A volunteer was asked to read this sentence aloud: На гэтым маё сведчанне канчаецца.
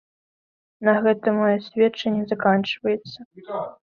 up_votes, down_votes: 1, 2